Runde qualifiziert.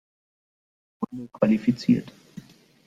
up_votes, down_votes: 0, 2